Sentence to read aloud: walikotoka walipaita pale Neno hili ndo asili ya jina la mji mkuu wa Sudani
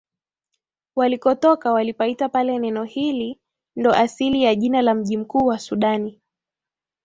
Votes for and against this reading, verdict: 2, 0, accepted